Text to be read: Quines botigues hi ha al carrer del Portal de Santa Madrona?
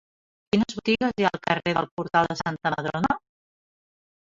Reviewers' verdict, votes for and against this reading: rejected, 0, 3